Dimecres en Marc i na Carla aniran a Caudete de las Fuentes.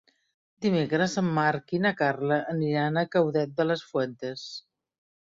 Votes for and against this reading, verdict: 0, 2, rejected